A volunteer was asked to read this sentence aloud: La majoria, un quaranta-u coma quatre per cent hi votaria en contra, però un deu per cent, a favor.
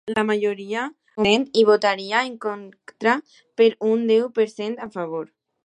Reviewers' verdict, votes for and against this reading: rejected, 1, 2